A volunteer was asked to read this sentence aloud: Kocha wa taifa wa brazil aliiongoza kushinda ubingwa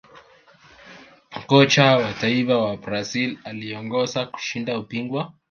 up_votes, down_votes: 0, 2